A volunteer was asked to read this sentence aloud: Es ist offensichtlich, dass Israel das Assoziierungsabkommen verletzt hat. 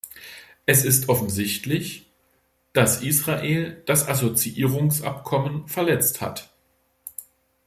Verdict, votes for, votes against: accepted, 2, 0